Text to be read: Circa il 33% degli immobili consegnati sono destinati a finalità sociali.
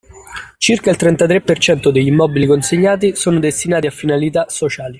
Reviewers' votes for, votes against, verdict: 0, 2, rejected